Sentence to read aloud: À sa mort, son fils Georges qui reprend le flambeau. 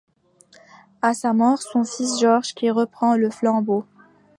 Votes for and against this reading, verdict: 2, 0, accepted